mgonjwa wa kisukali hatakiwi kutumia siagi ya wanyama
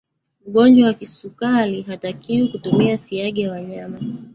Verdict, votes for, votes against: rejected, 1, 2